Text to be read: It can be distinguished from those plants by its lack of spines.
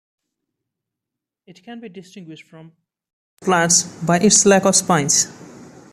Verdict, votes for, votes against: rejected, 1, 2